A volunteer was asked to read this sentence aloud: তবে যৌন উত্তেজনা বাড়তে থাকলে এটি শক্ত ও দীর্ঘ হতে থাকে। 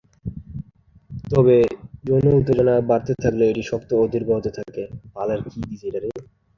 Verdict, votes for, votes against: rejected, 1, 2